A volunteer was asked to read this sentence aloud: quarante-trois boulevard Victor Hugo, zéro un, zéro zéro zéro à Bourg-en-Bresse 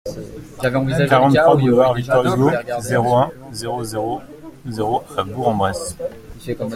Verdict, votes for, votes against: rejected, 0, 2